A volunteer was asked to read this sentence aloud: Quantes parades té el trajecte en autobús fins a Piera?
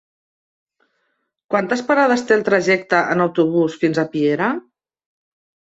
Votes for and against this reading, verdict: 3, 0, accepted